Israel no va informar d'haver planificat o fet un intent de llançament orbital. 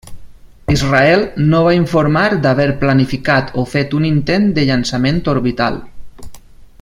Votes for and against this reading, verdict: 3, 0, accepted